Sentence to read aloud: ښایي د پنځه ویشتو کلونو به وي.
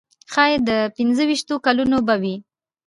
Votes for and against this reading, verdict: 2, 0, accepted